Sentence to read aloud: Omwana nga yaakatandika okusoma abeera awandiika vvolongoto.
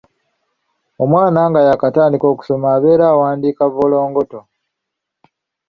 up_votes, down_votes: 3, 0